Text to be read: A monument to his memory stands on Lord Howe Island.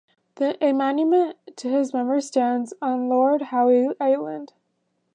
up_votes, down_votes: 0, 2